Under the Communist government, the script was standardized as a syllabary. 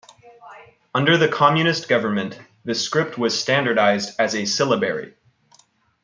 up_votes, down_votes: 0, 2